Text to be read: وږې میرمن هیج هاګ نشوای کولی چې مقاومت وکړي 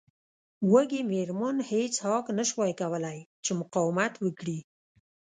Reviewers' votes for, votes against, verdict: 2, 0, accepted